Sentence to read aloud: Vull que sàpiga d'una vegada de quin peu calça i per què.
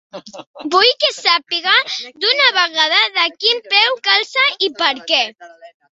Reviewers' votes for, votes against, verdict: 2, 1, accepted